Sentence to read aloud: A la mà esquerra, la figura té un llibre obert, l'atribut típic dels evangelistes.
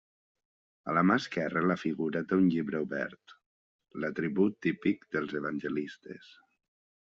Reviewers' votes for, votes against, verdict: 2, 0, accepted